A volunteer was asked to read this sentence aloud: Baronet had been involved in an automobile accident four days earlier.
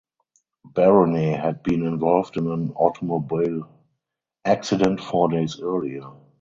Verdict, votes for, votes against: rejected, 2, 2